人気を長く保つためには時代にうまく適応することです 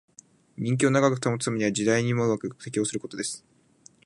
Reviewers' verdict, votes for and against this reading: rejected, 1, 2